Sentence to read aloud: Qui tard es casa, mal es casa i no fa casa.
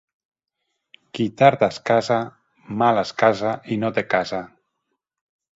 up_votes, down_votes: 2, 0